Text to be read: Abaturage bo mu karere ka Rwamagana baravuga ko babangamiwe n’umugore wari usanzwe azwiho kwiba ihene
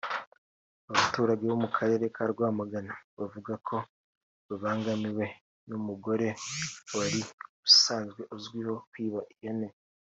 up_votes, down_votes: 2, 0